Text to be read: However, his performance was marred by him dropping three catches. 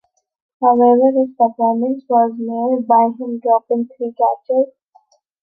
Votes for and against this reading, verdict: 2, 1, accepted